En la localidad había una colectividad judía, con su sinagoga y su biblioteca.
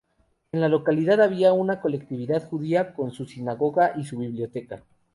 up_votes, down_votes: 2, 0